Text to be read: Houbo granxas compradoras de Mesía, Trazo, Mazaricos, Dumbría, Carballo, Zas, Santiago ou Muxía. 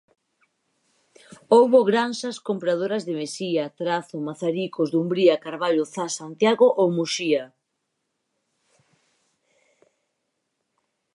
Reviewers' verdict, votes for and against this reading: accepted, 4, 0